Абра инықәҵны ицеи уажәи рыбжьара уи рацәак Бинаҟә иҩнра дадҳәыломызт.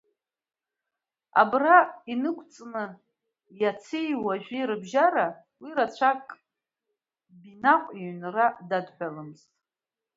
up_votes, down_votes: 2, 1